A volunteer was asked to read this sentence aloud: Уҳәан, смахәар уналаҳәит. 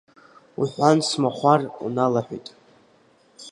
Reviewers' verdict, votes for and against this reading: accepted, 3, 1